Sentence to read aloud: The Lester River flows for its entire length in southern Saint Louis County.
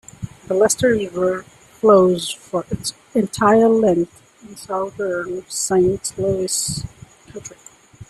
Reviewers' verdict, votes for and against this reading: rejected, 1, 2